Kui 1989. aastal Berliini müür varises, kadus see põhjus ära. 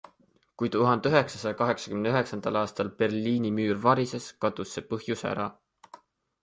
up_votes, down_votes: 0, 2